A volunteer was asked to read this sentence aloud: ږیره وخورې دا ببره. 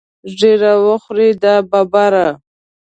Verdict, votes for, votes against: accepted, 2, 1